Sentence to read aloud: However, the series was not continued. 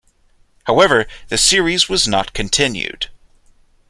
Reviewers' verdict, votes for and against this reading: accepted, 2, 0